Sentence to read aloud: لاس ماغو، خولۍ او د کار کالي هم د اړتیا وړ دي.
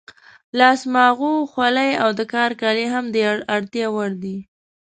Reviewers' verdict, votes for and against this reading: accepted, 2, 0